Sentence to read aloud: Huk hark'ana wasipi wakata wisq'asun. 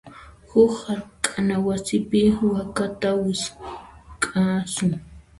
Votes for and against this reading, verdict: 0, 2, rejected